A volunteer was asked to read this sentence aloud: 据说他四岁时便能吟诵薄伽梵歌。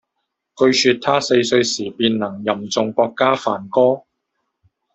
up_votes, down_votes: 1, 2